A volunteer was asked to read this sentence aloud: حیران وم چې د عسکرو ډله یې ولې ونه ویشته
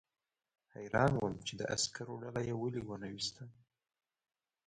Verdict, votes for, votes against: rejected, 1, 2